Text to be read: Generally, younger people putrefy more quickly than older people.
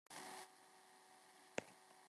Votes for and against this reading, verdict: 0, 2, rejected